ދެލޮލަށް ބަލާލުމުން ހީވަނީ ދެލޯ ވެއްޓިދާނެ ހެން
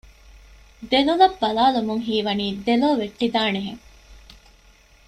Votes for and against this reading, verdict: 2, 0, accepted